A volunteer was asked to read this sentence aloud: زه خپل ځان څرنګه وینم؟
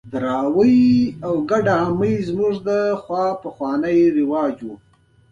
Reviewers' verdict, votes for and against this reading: accepted, 3, 0